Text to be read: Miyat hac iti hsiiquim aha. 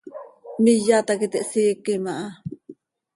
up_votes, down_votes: 2, 0